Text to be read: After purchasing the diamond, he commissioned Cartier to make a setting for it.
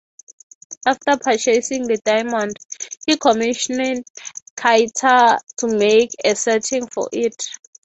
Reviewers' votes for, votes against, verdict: 3, 9, rejected